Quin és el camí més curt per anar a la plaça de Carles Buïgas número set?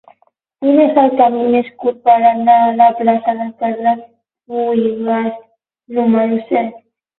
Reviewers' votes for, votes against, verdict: 12, 6, accepted